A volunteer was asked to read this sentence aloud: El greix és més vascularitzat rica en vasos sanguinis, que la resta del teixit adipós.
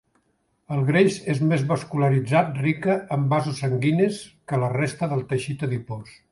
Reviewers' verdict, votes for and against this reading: accepted, 2, 0